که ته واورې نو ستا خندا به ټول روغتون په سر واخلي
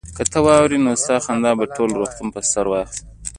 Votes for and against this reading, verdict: 1, 2, rejected